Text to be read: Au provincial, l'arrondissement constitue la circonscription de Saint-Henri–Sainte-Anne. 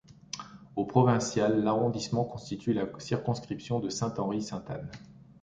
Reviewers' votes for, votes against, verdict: 1, 2, rejected